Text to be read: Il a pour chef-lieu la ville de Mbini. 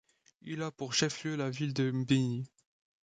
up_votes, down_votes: 2, 0